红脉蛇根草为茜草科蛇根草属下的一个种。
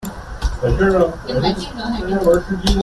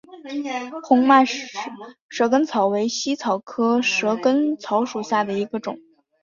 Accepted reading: second